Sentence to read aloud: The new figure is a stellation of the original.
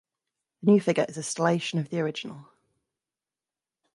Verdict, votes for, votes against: rejected, 1, 2